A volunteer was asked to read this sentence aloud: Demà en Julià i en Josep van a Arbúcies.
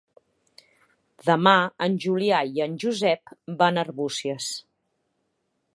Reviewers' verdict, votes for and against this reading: accepted, 3, 0